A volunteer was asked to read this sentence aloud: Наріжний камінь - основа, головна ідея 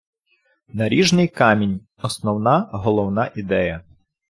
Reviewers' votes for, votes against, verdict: 1, 2, rejected